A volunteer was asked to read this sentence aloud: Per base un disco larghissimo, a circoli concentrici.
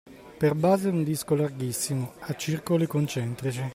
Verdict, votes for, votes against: accepted, 2, 0